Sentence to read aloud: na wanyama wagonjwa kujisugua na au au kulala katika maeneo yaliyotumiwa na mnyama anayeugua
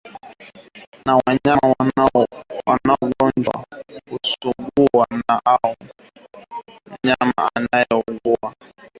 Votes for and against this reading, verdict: 0, 6, rejected